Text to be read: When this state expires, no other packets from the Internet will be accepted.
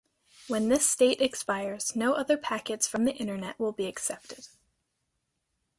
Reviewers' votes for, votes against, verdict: 2, 1, accepted